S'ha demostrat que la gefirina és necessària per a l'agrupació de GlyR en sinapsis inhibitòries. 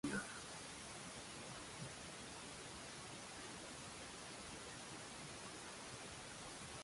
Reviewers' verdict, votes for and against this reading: rejected, 0, 3